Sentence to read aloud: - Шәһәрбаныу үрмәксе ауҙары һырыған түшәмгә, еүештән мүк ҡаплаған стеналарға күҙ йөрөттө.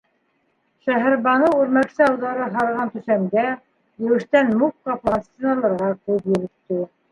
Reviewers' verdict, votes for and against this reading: rejected, 1, 2